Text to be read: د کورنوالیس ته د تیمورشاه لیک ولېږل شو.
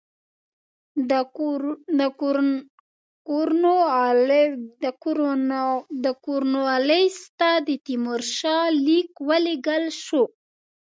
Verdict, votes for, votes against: rejected, 0, 2